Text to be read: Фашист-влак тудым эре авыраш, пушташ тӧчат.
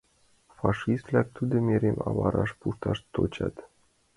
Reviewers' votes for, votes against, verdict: 0, 2, rejected